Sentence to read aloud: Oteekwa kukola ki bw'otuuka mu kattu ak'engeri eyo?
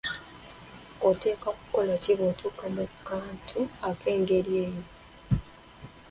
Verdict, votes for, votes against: rejected, 0, 3